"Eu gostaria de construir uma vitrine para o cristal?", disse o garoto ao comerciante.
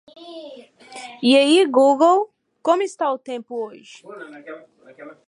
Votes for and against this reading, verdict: 0, 2, rejected